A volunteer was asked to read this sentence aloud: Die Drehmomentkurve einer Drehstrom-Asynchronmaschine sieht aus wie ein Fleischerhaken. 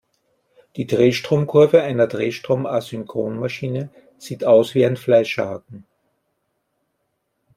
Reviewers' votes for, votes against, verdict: 0, 2, rejected